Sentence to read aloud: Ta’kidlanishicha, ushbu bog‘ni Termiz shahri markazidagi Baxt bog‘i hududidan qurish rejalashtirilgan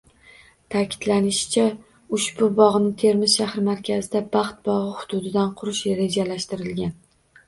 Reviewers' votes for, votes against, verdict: 2, 0, accepted